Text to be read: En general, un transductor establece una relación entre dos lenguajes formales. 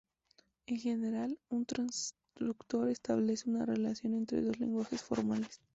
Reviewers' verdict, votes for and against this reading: accepted, 2, 0